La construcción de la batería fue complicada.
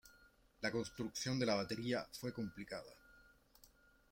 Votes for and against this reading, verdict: 2, 1, accepted